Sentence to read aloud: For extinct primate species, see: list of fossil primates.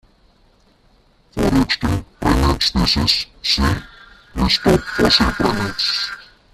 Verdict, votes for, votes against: rejected, 0, 2